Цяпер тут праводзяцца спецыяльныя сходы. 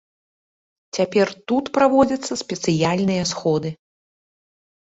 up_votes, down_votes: 2, 0